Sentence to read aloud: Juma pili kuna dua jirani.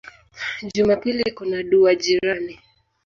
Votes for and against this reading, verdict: 2, 0, accepted